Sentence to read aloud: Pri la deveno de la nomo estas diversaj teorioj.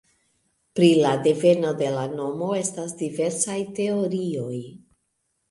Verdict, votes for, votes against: accepted, 2, 0